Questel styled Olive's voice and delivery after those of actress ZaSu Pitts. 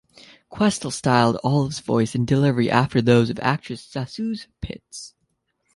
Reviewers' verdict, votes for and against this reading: rejected, 0, 2